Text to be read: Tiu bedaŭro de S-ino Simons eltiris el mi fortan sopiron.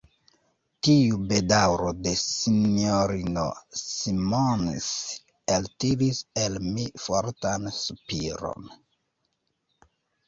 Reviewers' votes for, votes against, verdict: 2, 0, accepted